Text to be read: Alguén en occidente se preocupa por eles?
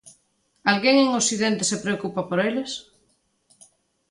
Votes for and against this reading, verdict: 2, 0, accepted